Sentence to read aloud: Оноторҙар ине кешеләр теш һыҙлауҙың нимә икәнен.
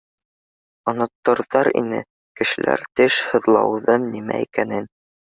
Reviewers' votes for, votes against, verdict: 1, 2, rejected